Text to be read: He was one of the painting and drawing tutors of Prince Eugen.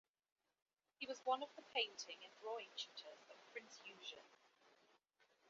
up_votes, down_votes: 0, 2